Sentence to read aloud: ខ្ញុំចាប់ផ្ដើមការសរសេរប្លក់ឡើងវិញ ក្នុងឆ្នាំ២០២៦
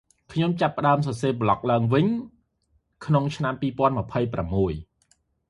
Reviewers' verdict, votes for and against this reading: rejected, 0, 2